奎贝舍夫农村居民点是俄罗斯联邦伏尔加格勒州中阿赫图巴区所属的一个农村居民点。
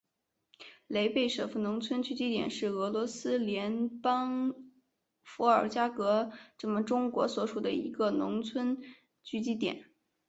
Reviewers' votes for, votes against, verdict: 0, 2, rejected